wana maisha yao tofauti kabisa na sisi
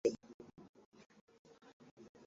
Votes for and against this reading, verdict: 1, 2, rejected